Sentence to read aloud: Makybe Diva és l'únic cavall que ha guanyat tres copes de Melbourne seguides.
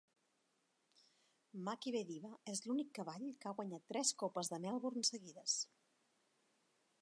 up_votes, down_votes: 2, 1